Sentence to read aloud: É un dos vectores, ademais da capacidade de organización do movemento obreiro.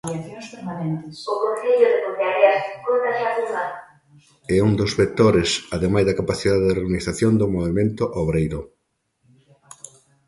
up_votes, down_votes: 0, 2